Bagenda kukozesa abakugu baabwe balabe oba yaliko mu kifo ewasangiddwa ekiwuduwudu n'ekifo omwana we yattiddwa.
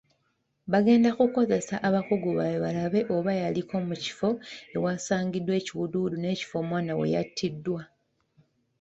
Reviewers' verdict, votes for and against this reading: accepted, 2, 0